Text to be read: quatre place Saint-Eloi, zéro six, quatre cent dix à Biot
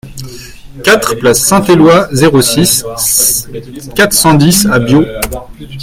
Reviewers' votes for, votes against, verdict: 1, 2, rejected